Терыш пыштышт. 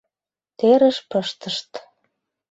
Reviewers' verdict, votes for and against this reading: accepted, 2, 0